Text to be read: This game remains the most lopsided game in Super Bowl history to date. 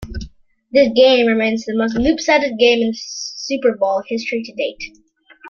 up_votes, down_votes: 1, 2